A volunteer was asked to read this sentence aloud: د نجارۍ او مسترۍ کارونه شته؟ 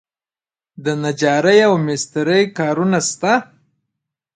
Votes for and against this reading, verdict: 2, 0, accepted